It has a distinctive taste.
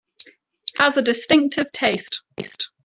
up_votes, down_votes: 1, 2